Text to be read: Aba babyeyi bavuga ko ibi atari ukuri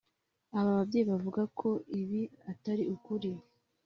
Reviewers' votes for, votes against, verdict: 3, 0, accepted